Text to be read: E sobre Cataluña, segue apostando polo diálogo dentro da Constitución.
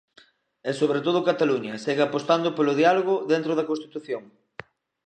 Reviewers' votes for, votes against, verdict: 0, 2, rejected